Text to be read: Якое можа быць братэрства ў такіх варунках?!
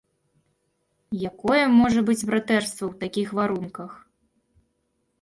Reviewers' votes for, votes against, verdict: 2, 0, accepted